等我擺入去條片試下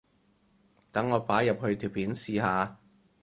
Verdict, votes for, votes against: accepted, 4, 0